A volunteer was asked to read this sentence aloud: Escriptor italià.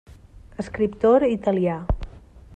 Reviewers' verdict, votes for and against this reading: rejected, 1, 2